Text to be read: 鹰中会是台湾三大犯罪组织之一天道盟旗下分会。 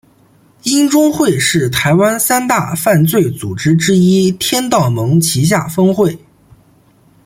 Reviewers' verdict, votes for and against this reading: accepted, 2, 0